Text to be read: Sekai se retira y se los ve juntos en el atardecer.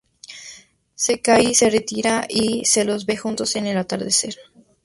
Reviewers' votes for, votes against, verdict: 2, 0, accepted